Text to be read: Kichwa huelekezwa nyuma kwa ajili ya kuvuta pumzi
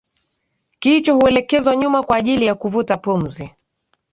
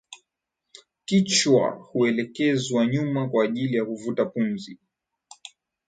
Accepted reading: first